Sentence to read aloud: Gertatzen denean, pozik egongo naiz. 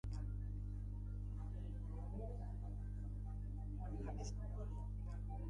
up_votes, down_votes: 0, 2